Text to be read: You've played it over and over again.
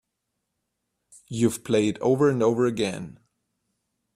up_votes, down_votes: 1, 2